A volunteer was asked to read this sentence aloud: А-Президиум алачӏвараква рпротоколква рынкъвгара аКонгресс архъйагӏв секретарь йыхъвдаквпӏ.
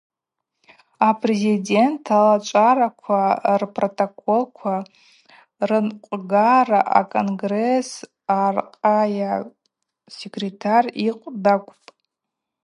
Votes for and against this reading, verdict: 0, 2, rejected